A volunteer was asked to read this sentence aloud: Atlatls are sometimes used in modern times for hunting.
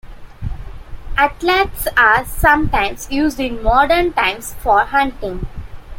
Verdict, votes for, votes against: rejected, 1, 2